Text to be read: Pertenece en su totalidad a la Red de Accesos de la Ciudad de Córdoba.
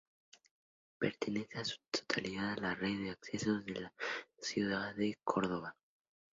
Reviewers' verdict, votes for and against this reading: rejected, 0, 2